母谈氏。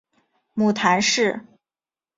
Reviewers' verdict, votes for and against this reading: accepted, 4, 0